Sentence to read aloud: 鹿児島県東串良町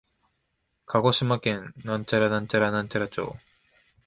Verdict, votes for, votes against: rejected, 0, 2